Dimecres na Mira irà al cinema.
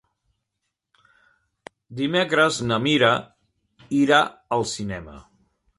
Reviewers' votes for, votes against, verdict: 2, 1, accepted